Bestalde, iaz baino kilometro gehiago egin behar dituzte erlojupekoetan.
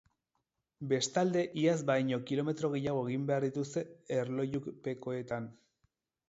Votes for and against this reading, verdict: 4, 0, accepted